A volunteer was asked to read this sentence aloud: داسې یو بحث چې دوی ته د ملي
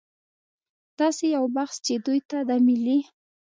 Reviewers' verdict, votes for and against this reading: accepted, 2, 0